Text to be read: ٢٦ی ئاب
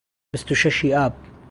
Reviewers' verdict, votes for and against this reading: rejected, 0, 2